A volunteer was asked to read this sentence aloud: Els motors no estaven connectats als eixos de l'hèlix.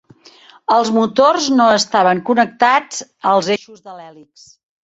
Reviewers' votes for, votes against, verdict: 1, 2, rejected